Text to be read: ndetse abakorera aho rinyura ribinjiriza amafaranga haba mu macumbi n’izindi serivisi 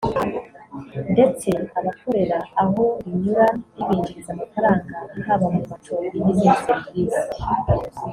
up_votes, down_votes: 2, 1